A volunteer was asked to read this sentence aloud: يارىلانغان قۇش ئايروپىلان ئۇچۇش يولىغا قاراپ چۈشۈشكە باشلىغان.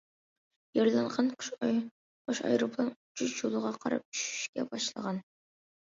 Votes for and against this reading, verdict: 0, 2, rejected